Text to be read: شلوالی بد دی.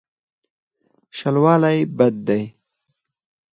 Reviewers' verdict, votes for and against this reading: accepted, 4, 0